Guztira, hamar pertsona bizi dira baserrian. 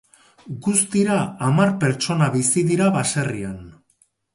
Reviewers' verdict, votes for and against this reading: accepted, 2, 0